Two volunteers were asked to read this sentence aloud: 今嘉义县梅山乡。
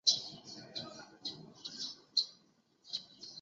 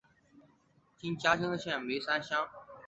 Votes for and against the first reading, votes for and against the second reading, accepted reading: 3, 5, 3, 0, second